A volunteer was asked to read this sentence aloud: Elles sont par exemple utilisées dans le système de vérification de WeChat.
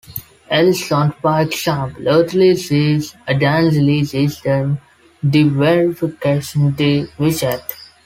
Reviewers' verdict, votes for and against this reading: accepted, 2, 1